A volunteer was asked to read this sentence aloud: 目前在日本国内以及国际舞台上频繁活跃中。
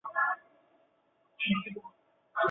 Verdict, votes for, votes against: rejected, 0, 3